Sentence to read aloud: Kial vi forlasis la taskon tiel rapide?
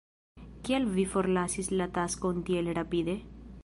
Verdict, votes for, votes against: accepted, 2, 0